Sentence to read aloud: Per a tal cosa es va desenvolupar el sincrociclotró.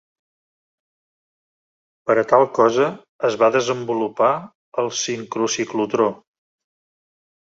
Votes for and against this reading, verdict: 2, 0, accepted